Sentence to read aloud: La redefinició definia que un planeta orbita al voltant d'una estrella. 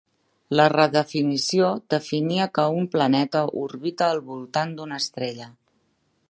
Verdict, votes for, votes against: accepted, 3, 0